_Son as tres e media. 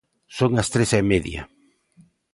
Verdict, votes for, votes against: accepted, 2, 0